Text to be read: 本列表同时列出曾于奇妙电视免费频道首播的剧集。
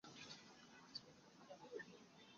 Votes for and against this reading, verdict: 0, 2, rejected